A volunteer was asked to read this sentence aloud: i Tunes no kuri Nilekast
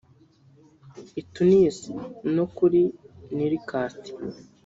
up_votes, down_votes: 0, 2